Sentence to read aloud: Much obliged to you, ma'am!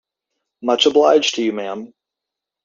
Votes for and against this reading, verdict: 2, 0, accepted